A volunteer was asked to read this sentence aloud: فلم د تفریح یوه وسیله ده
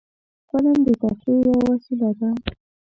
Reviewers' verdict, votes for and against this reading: accepted, 2, 0